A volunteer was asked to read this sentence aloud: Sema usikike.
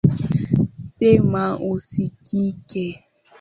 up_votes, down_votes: 6, 0